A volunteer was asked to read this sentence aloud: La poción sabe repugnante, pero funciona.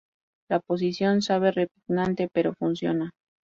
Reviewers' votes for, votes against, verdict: 0, 2, rejected